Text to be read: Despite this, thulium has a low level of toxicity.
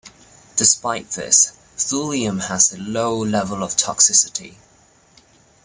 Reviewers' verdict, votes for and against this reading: accepted, 2, 0